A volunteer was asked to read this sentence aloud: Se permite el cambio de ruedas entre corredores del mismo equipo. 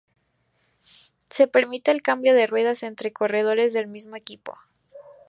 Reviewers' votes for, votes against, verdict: 2, 0, accepted